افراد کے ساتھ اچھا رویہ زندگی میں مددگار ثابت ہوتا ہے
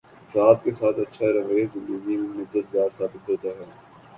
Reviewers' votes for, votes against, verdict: 2, 1, accepted